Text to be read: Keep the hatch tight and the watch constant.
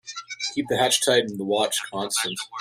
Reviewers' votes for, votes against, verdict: 0, 2, rejected